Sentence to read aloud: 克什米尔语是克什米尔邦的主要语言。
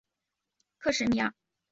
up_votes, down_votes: 2, 3